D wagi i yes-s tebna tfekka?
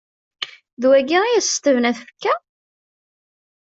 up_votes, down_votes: 2, 0